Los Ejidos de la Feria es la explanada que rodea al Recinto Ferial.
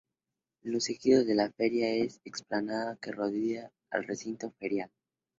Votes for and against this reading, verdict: 2, 0, accepted